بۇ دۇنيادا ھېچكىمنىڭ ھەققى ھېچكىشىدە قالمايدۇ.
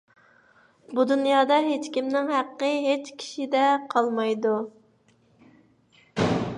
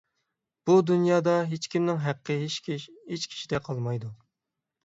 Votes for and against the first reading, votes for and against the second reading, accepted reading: 2, 0, 0, 6, first